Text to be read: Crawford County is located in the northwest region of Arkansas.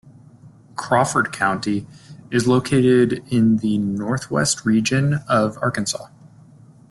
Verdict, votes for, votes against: accepted, 2, 0